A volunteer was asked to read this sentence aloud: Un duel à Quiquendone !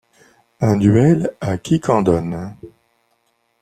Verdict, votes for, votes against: accepted, 2, 0